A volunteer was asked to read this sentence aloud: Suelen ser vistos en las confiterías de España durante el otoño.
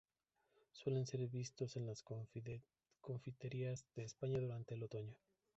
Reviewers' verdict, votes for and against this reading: rejected, 0, 2